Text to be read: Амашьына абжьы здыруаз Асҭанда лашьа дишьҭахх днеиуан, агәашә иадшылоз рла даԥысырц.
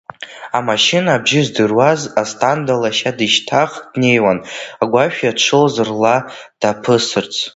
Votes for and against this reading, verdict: 0, 2, rejected